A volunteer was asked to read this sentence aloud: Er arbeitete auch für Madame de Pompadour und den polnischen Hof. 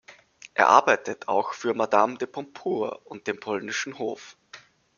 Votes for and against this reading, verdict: 2, 1, accepted